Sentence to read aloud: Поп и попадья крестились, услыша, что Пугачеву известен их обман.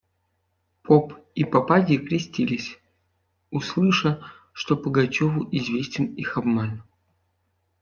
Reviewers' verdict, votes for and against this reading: accepted, 2, 0